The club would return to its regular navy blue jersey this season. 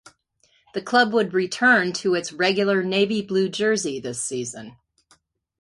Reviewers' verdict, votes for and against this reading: accepted, 2, 0